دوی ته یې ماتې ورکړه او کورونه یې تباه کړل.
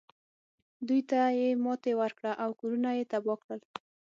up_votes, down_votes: 6, 3